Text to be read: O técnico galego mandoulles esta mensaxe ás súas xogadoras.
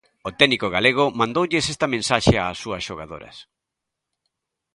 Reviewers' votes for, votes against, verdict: 3, 0, accepted